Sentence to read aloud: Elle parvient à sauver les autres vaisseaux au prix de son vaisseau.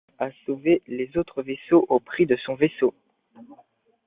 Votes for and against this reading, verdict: 0, 2, rejected